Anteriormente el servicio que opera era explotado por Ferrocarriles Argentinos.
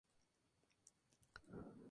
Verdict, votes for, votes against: rejected, 0, 2